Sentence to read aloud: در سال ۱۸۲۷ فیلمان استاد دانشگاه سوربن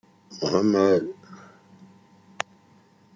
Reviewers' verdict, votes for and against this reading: rejected, 0, 2